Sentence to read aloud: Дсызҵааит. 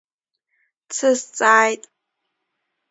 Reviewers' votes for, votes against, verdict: 2, 1, accepted